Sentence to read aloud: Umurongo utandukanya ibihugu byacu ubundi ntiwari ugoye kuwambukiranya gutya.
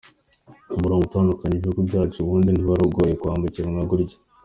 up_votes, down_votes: 2, 1